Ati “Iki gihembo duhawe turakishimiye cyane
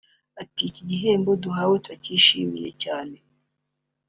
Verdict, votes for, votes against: accepted, 2, 1